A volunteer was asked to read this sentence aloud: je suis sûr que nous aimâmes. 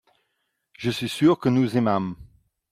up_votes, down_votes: 2, 0